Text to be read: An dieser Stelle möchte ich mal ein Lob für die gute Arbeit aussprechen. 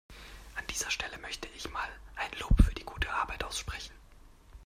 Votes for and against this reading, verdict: 2, 0, accepted